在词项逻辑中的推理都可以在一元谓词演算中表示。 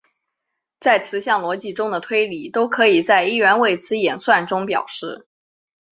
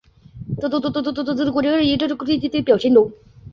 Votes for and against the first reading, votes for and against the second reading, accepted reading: 3, 0, 0, 3, first